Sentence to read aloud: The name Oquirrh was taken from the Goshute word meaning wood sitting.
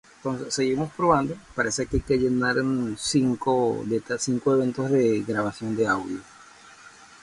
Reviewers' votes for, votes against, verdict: 0, 2, rejected